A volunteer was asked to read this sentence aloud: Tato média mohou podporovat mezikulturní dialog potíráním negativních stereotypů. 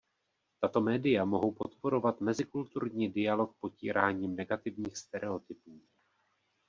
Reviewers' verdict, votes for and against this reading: accepted, 3, 1